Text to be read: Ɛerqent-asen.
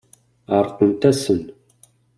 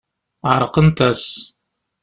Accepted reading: first